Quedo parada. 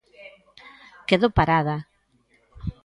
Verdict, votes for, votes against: accepted, 2, 0